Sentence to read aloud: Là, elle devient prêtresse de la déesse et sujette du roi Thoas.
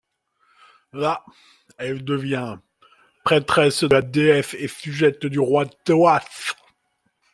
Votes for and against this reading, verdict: 2, 1, accepted